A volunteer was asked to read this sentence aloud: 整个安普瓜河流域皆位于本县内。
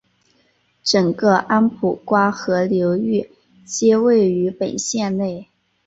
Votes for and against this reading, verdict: 2, 0, accepted